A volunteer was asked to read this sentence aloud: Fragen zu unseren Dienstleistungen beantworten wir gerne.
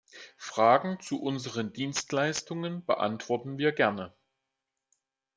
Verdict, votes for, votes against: accepted, 2, 0